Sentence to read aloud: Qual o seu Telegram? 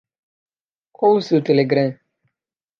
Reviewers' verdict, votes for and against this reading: accepted, 2, 0